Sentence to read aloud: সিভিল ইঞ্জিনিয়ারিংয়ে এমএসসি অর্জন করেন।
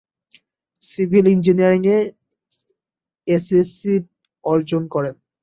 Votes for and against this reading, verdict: 0, 2, rejected